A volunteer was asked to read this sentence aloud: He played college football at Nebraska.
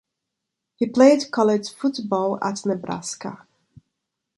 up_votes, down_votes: 3, 0